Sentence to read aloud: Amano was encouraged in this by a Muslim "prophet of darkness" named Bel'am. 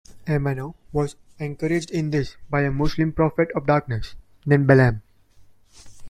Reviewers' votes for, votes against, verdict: 1, 2, rejected